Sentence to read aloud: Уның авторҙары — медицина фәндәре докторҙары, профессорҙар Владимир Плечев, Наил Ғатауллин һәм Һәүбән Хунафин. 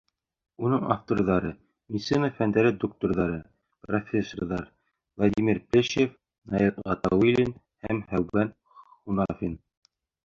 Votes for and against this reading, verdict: 1, 2, rejected